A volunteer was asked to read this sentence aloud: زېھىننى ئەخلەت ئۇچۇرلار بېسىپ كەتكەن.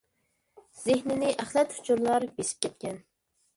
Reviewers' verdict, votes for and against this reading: accepted, 2, 0